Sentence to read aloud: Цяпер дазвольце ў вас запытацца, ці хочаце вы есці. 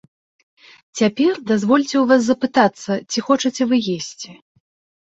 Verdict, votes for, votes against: accepted, 2, 0